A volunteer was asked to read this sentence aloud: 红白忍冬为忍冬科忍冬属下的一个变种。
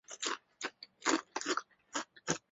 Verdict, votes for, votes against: rejected, 0, 2